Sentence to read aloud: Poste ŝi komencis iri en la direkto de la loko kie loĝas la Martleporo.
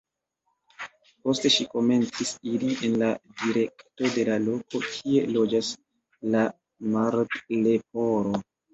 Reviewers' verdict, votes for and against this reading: rejected, 0, 2